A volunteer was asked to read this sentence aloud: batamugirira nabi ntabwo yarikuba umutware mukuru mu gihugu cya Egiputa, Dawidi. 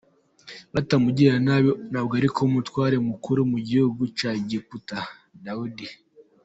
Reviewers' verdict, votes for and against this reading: accepted, 2, 0